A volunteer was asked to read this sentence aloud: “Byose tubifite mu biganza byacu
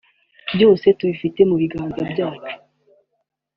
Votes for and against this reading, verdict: 2, 0, accepted